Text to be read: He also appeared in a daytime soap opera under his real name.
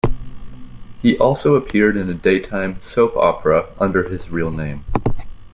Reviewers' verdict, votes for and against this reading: accepted, 2, 0